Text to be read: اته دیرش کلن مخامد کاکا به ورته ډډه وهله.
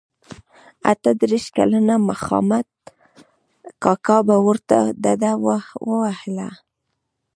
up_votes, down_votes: 1, 2